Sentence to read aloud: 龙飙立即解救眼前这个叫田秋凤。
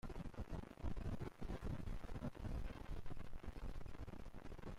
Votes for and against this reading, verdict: 0, 2, rejected